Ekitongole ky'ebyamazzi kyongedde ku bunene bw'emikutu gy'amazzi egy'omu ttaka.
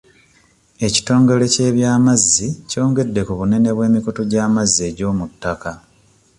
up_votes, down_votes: 2, 0